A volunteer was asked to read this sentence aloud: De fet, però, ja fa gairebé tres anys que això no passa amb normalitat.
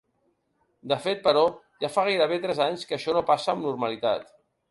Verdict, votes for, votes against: accepted, 4, 0